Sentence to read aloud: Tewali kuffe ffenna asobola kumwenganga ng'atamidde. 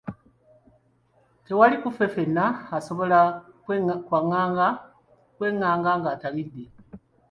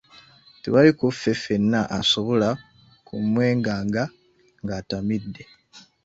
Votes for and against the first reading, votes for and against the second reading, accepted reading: 1, 2, 2, 0, second